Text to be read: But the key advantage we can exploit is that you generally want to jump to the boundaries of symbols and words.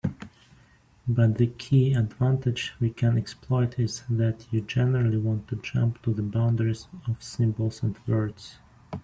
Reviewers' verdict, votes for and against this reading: accepted, 3, 0